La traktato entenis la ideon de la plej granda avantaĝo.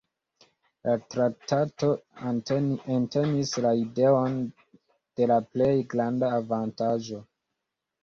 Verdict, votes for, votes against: rejected, 0, 2